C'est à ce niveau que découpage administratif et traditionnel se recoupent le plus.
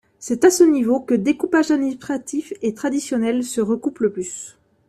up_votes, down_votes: 1, 2